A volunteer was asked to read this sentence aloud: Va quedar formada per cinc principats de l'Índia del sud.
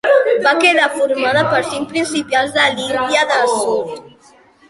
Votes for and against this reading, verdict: 0, 2, rejected